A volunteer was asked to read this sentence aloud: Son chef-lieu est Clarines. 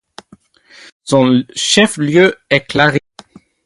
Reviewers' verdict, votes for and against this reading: rejected, 0, 2